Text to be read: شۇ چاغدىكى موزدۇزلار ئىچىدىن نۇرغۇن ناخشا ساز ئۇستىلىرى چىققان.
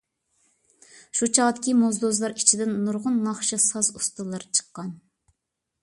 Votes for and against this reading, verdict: 2, 0, accepted